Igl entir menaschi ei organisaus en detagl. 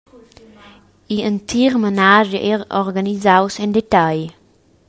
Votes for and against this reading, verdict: 1, 2, rejected